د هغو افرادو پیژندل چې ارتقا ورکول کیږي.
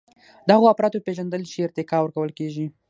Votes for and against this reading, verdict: 3, 6, rejected